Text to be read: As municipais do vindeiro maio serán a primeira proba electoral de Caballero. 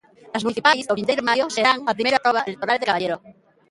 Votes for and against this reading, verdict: 0, 2, rejected